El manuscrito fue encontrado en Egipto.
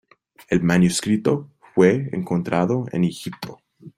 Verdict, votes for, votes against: accepted, 2, 0